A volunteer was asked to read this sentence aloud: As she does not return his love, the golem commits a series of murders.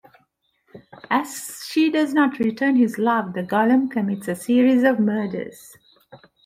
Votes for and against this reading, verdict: 2, 0, accepted